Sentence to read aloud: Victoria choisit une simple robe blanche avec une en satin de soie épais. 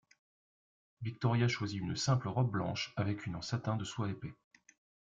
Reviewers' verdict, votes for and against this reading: rejected, 0, 2